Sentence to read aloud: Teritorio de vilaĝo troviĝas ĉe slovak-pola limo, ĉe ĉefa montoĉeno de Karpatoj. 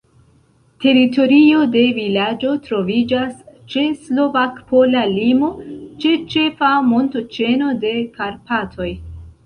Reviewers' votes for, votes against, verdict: 0, 2, rejected